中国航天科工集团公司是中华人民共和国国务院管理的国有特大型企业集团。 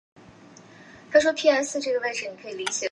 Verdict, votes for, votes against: rejected, 2, 5